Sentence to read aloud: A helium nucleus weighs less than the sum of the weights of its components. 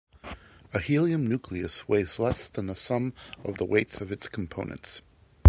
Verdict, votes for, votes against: accepted, 2, 0